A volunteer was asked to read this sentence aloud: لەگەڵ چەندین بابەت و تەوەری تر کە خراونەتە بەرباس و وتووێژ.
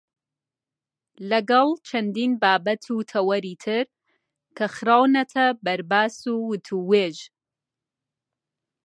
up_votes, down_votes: 2, 0